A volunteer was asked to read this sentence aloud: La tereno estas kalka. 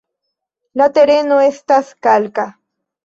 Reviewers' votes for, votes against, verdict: 2, 0, accepted